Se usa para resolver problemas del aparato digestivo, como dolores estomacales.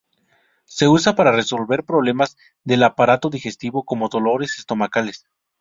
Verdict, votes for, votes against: rejected, 0, 2